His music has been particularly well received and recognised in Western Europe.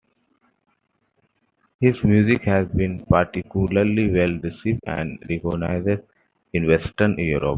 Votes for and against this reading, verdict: 2, 0, accepted